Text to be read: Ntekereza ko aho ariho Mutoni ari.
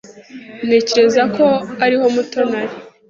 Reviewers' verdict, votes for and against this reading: rejected, 0, 2